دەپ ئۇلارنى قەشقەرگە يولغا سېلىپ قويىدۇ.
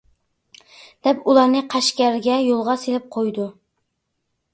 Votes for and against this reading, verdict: 2, 0, accepted